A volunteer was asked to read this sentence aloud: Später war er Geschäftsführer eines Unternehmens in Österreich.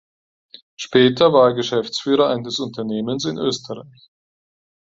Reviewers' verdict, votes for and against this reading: rejected, 2, 4